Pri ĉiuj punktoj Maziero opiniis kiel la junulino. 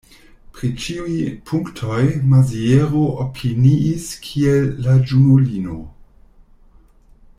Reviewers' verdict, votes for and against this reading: rejected, 0, 2